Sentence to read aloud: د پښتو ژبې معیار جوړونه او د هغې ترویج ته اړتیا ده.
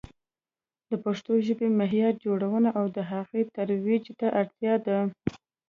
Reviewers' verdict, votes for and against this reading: accepted, 2, 0